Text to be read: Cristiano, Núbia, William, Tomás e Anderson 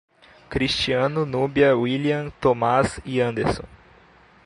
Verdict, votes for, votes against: accepted, 2, 0